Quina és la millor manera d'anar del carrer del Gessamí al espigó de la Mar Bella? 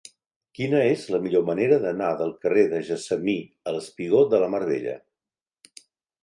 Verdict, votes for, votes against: rejected, 0, 2